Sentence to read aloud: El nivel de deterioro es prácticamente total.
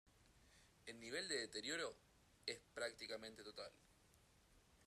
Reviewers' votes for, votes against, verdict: 1, 2, rejected